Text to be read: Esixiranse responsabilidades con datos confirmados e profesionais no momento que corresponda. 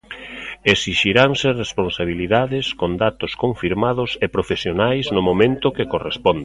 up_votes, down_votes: 1, 2